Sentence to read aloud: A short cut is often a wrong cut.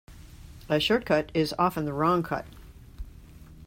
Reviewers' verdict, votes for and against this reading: rejected, 1, 2